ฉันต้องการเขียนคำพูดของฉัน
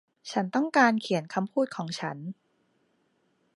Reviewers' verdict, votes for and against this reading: accepted, 2, 0